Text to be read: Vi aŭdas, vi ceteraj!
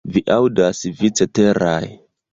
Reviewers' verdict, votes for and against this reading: rejected, 1, 2